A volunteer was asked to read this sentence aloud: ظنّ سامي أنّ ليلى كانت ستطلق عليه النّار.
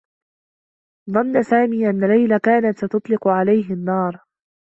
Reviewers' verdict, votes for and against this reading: accepted, 2, 1